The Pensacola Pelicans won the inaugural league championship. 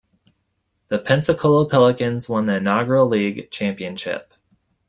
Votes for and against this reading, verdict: 2, 0, accepted